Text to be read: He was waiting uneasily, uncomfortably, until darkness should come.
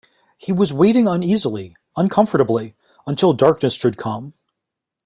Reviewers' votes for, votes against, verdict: 1, 2, rejected